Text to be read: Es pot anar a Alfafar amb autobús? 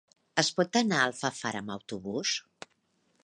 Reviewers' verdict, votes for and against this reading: accepted, 3, 0